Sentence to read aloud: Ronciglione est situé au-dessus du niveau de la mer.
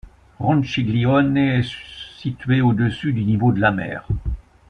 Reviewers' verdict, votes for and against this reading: accepted, 2, 0